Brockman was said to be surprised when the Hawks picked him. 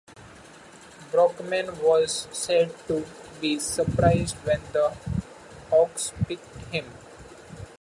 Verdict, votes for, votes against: accepted, 2, 0